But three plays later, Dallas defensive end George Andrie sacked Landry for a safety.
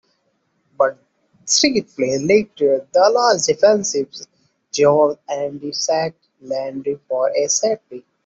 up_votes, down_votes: 1, 2